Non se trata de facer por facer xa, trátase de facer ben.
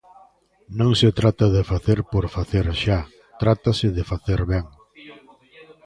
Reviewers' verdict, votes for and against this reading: rejected, 1, 2